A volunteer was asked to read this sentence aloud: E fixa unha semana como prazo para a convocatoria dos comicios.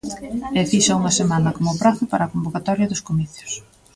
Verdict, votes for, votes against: rejected, 1, 2